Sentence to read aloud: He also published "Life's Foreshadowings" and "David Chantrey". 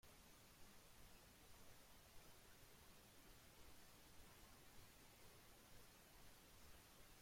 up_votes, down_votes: 1, 2